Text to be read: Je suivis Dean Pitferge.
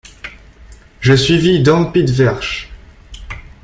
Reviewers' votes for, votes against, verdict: 0, 2, rejected